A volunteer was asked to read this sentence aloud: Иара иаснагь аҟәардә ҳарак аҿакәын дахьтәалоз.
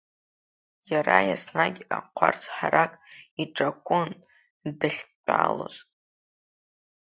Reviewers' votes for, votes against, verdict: 0, 2, rejected